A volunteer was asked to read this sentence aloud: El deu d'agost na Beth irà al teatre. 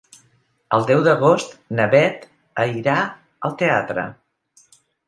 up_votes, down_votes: 0, 3